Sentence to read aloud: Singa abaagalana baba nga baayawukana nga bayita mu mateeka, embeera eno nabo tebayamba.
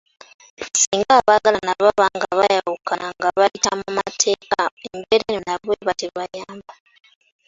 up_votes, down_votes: 2, 1